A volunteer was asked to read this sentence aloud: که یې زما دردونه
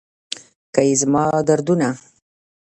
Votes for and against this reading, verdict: 1, 2, rejected